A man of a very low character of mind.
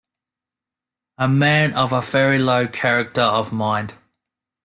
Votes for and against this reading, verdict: 2, 0, accepted